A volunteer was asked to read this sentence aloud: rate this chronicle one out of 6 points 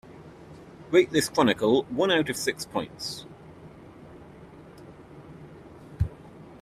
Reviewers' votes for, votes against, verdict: 0, 2, rejected